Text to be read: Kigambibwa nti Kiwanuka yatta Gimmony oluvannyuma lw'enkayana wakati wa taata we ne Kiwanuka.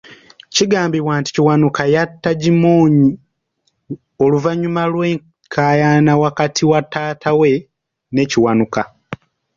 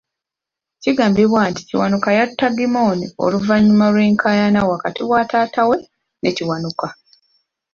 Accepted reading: second